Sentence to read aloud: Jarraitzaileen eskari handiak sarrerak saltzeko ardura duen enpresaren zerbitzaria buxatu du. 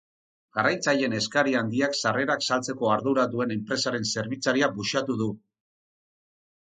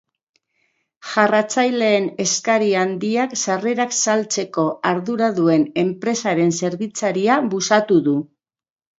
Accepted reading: first